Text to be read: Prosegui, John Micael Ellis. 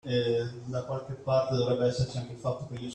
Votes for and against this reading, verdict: 0, 2, rejected